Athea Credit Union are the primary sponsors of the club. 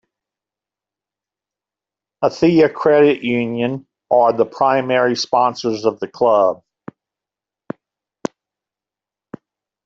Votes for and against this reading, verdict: 3, 0, accepted